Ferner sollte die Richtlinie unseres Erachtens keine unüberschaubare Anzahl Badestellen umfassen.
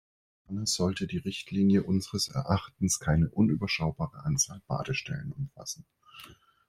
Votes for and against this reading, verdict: 0, 2, rejected